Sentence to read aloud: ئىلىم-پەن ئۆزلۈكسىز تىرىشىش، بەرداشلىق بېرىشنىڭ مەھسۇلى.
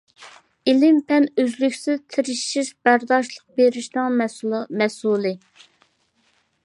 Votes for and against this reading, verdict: 2, 1, accepted